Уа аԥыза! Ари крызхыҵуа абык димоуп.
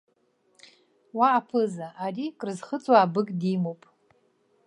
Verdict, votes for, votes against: accepted, 2, 0